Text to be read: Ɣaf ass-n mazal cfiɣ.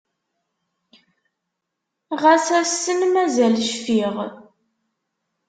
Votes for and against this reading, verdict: 0, 2, rejected